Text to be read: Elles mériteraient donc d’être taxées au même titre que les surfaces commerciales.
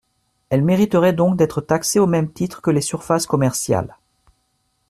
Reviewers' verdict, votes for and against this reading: accepted, 2, 0